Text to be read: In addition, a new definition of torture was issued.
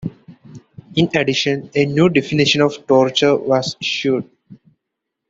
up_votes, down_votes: 0, 2